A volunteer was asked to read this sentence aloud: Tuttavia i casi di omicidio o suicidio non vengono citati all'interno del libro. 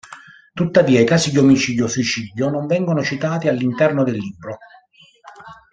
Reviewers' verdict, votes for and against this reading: accepted, 2, 0